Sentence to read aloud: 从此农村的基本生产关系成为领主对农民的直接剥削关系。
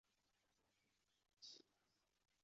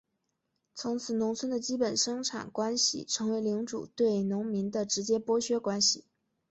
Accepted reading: second